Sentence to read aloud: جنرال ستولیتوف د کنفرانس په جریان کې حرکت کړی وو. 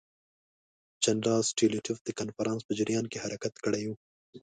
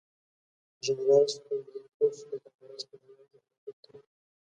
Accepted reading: first